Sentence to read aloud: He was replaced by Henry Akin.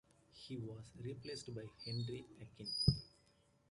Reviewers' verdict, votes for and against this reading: rejected, 1, 2